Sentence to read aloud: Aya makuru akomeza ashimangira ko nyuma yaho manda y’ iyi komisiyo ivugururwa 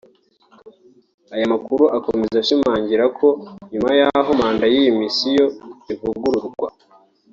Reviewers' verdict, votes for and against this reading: rejected, 0, 2